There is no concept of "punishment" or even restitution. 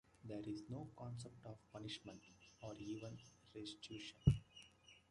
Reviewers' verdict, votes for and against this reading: rejected, 1, 2